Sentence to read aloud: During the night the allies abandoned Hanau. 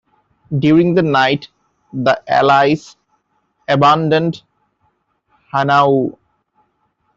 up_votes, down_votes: 2, 0